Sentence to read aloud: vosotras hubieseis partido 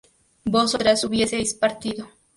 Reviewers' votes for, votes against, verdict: 0, 2, rejected